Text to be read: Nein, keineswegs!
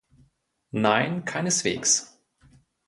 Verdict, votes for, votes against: accepted, 2, 0